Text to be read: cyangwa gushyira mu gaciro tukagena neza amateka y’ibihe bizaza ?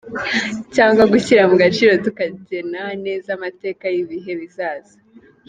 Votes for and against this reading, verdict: 2, 0, accepted